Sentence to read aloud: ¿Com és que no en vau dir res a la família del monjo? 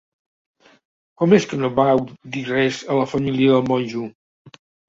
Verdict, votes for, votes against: rejected, 1, 2